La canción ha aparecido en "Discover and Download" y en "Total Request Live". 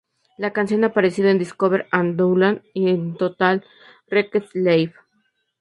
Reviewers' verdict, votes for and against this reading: rejected, 2, 2